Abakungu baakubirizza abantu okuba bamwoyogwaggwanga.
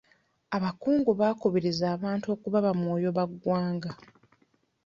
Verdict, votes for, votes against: rejected, 0, 2